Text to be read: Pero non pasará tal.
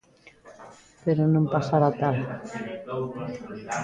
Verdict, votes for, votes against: accepted, 2, 0